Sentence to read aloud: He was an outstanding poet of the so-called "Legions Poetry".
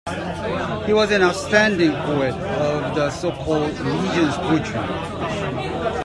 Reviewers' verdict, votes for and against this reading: accepted, 2, 1